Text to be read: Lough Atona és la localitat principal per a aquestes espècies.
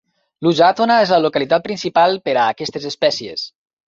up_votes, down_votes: 0, 2